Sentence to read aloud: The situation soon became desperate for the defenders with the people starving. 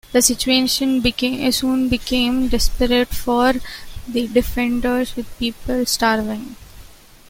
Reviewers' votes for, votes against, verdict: 0, 2, rejected